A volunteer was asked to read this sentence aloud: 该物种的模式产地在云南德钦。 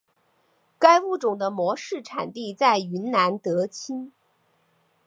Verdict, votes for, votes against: accepted, 3, 0